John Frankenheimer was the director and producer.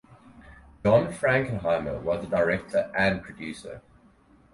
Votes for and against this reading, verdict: 4, 0, accepted